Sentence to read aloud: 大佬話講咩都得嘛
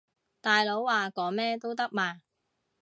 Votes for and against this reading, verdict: 3, 0, accepted